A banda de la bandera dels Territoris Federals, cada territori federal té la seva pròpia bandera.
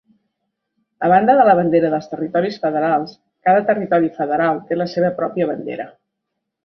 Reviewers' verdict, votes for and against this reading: accepted, 2, 0